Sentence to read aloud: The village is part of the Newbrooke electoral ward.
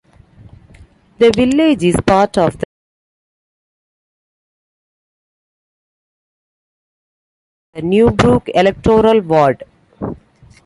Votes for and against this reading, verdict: 2, 1, accepted